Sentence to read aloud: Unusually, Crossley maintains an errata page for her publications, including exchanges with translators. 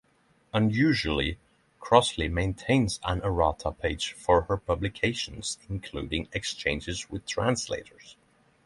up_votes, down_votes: 6, 0